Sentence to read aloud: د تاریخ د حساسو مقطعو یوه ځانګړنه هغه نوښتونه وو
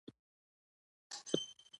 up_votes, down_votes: 0, 2